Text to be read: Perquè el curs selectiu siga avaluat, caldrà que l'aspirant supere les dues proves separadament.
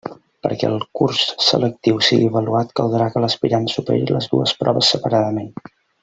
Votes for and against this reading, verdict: 0, 2, rejected